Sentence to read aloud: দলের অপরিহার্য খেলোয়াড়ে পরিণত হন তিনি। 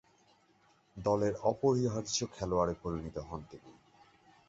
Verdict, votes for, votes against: rejected, 0, 3